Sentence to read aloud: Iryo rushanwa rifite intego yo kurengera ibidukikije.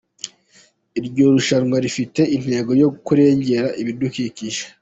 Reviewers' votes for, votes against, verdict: 2, 0, accepted